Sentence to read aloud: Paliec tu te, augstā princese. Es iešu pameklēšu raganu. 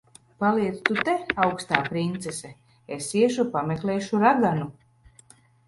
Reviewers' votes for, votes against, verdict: 0, 2, rejected